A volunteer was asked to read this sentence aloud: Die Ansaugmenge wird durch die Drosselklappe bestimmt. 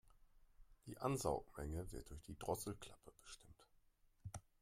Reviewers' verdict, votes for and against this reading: accepted, 2, 0